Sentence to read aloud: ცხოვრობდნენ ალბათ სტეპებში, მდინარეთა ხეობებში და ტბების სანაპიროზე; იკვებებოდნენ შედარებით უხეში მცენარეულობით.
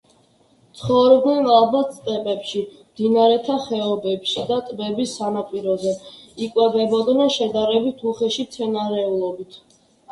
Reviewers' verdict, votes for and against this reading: accepted, 2, 1